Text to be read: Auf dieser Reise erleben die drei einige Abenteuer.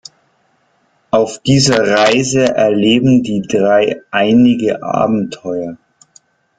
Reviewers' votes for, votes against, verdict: 2, 0, accepted